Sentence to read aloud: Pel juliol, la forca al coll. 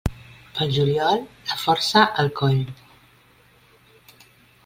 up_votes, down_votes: 0, 2